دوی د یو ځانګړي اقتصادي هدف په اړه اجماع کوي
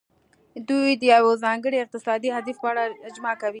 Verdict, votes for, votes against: accepted, 2, 0